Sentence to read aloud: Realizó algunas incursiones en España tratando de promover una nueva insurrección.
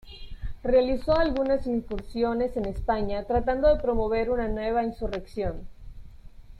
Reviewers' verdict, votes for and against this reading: accepted, 2, 0